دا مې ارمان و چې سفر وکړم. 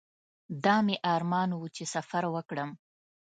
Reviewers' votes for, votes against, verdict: 2, 0, accepted